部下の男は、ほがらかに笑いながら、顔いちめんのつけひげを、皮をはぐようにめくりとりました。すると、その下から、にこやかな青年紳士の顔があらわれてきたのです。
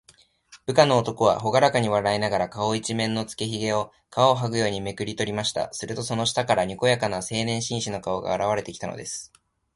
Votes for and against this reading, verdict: 2, 0, accepted